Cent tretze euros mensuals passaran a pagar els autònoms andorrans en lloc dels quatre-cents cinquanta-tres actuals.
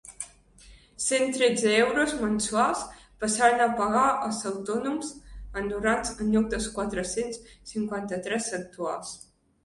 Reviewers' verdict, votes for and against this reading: rejected, 1, 2